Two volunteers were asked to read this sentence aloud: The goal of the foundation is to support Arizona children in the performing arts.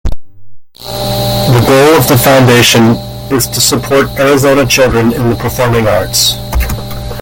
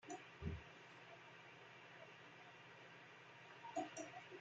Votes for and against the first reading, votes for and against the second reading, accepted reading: 2, 0, 0, 2, first